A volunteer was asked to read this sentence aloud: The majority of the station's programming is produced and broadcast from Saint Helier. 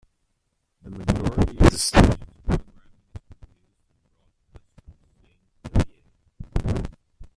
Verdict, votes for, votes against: rejected, 0, 2